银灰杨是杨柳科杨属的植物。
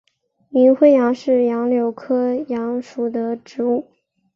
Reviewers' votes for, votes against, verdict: 3, 2, accepted